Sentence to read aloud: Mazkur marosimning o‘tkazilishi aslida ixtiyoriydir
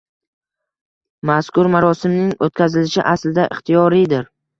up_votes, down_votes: 2, 0